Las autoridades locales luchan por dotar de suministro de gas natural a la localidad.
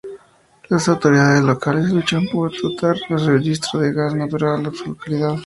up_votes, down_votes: 2, 2